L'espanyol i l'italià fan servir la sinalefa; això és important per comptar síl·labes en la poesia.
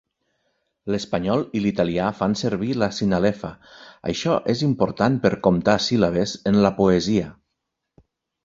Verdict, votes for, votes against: accepted, 3, 0